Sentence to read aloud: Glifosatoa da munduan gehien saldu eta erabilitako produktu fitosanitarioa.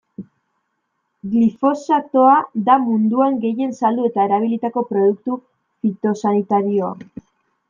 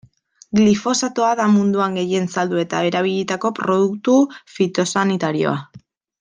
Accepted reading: first